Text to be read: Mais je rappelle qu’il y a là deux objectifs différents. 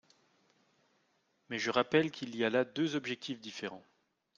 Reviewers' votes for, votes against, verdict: 2, 0, accepted